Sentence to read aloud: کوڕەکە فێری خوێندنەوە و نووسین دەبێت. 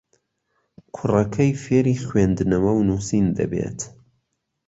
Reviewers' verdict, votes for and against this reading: rejected, 1, 2